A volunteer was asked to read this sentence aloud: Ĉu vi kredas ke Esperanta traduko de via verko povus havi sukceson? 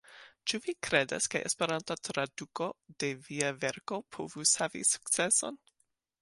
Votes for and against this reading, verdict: 2, 0, accepted